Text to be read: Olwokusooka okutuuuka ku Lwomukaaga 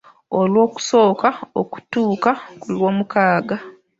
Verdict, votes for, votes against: accepted, 2, 0